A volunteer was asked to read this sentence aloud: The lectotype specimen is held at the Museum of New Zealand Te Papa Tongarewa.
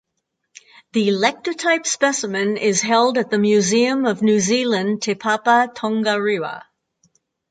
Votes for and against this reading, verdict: 4, 0, accepted